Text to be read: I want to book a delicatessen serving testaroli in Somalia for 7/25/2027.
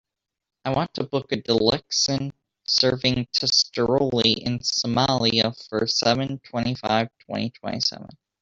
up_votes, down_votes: 0, 2